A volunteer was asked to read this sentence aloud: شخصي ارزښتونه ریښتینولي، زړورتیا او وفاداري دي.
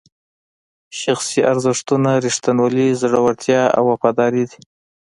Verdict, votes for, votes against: rejected, 0, 2